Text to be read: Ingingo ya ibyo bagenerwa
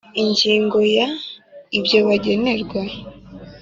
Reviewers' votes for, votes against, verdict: 2, 0, accepted